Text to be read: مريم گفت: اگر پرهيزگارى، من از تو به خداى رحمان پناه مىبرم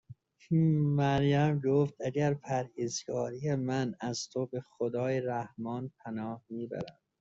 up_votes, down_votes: 0, 2